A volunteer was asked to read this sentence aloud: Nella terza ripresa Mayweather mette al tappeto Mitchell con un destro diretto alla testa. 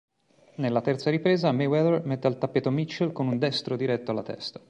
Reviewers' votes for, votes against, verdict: 2, 0, accepted